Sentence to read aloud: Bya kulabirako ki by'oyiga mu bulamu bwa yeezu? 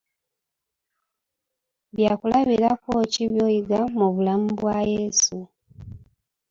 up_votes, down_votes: 2, 0